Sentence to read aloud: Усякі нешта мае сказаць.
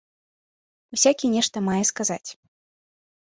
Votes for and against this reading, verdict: 3, 0, accepted